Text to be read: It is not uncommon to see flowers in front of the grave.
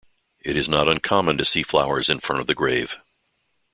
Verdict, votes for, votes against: accepted, 2, 0